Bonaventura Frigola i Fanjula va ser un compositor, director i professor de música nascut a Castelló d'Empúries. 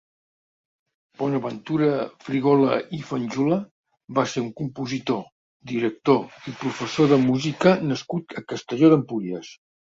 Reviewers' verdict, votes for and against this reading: accepted, 2, 0